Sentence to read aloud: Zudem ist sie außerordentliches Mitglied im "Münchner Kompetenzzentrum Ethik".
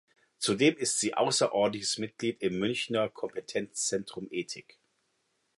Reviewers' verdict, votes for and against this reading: accepted, 2, 0